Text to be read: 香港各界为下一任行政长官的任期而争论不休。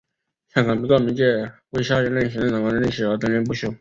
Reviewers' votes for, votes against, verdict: 1, 2, rejected